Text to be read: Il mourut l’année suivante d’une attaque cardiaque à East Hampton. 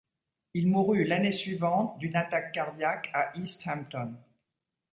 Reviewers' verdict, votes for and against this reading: rejected, 1, 2